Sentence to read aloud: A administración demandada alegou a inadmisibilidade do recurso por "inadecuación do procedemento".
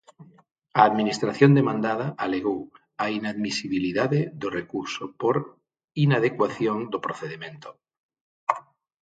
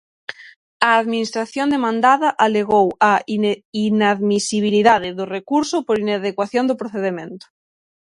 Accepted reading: first